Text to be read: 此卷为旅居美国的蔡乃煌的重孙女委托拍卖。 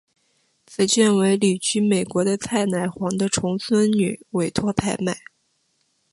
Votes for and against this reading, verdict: 2, 1, accepted